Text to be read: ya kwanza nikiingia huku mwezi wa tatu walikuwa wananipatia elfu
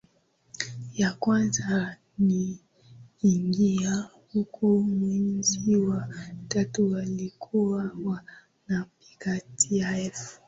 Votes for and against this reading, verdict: 2, 0, accepted